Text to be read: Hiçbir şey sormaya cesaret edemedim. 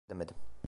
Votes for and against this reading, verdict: 0, 2, rejected